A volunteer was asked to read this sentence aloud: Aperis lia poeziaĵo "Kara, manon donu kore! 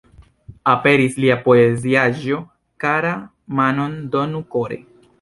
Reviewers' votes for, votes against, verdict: 3, 2, accepted